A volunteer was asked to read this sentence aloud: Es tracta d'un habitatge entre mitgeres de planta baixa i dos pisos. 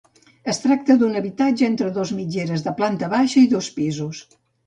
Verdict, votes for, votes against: rejected, 0, 2